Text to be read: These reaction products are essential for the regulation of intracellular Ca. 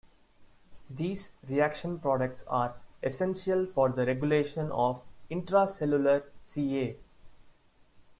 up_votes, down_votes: 2, 1